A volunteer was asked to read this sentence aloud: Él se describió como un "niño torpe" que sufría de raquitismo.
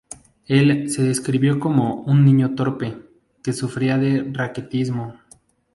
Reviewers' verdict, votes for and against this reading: accepted, 2, 0